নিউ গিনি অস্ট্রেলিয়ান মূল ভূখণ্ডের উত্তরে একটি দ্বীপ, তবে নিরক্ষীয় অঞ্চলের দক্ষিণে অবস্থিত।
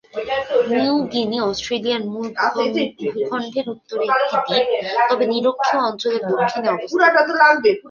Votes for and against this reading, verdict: 2, 3, rejected